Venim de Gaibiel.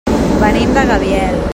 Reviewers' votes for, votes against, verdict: 0, 2, rejected